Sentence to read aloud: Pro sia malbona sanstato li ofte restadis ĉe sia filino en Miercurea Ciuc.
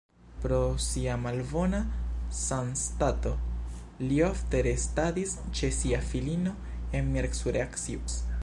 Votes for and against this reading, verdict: 0, 2, rejected